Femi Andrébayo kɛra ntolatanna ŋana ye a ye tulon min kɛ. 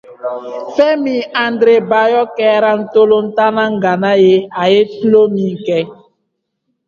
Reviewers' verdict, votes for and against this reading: accepted, 2, 0